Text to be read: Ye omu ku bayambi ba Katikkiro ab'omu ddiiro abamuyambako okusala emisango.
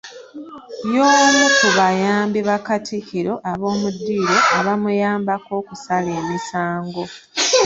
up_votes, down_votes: 1, 2